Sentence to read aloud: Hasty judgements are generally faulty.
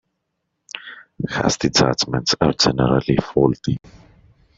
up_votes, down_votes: 0, 2